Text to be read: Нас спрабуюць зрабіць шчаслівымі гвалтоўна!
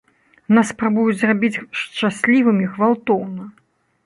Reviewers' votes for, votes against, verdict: 0, 2, rejected